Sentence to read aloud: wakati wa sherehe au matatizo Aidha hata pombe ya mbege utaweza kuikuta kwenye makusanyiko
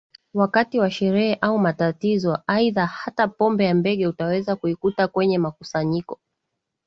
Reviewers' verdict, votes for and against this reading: accepted, 2, 0